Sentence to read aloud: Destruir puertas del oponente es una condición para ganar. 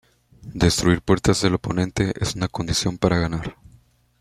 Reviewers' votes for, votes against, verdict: 1, 2, rejected